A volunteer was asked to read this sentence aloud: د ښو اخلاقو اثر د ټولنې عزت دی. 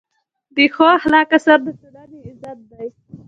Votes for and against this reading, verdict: 1, 2, rejected